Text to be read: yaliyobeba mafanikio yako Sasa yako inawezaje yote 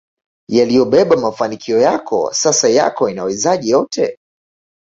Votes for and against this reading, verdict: 2, 0, accepted